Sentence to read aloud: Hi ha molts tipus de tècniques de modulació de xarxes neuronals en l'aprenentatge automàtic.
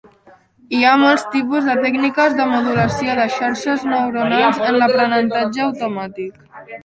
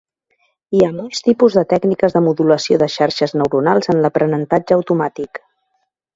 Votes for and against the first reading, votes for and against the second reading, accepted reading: 1, 2, 2, 0, second